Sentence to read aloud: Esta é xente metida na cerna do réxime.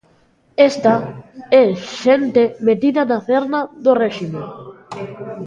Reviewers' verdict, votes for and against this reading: rejected, 1, 2